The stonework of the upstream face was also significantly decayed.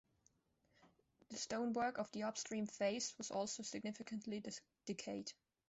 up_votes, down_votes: 1, 2